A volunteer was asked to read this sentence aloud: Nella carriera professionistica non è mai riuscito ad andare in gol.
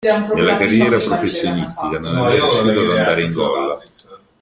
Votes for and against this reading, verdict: 1, 2, rejected